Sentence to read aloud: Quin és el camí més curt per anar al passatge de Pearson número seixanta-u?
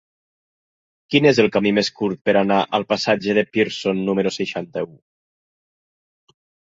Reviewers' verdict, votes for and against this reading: accepted, 3, 0